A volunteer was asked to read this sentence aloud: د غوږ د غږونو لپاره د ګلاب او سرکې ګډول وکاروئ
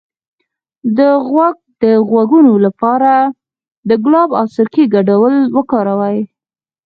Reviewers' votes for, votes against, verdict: 2, 4, rejected